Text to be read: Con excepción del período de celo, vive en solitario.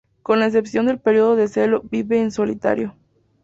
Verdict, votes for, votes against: accepted, 2, 0